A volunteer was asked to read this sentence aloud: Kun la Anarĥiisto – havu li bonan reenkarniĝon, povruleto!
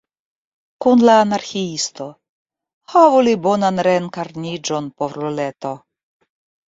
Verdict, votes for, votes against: rejected, 1, 2